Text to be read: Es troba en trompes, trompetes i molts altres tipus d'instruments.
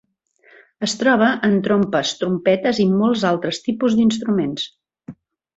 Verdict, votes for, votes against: accepted, 2, 0